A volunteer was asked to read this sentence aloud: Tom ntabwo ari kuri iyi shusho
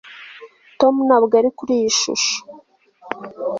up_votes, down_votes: 2, 0